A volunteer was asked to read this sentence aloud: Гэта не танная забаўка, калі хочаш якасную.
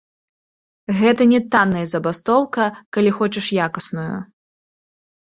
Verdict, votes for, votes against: rejected, 0, 2